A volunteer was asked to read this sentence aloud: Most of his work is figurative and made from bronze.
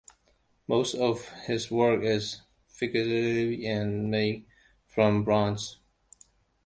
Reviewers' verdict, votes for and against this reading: accepted, 2, 1